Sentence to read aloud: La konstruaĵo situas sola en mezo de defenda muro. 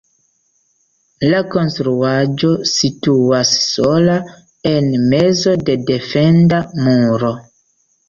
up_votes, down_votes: 2, 0